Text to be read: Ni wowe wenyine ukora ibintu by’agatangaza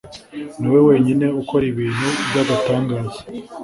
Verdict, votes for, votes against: accepted, 2, 1